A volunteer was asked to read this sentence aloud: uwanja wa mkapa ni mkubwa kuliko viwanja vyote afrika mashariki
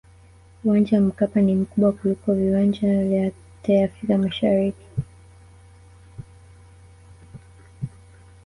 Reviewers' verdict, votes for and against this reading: accepted, 2, 1